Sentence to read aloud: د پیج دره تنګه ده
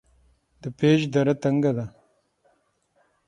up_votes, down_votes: 3, 6